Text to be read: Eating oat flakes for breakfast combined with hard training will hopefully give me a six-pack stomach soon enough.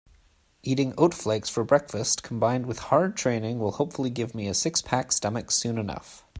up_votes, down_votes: 2, 0